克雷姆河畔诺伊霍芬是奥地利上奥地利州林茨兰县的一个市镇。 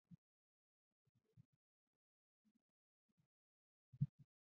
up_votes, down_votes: 0, 2